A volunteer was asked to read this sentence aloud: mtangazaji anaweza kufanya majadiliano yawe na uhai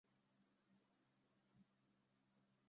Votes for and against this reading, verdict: 0, 2, rejected